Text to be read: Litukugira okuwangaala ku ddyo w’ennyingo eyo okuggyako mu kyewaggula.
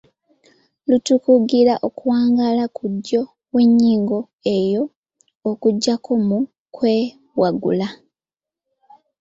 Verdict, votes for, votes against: rejected, 1, 2